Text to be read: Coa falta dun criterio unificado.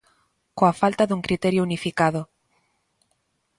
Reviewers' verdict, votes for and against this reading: accepted, 2, 0